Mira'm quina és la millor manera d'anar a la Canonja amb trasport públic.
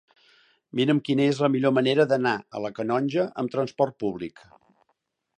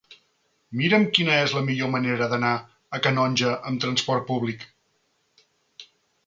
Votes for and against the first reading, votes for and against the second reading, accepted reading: 2, 0, 1, 2, first